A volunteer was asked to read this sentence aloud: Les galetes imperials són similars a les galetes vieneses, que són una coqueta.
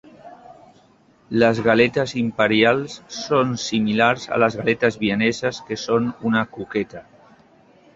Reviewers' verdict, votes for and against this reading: accepted, 3, 0